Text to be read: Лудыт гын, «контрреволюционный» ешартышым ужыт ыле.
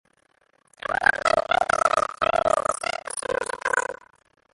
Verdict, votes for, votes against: rejected, 0, 2